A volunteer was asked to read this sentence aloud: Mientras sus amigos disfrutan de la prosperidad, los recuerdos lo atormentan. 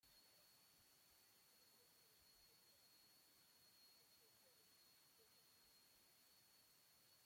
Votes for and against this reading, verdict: 0, 2, rejected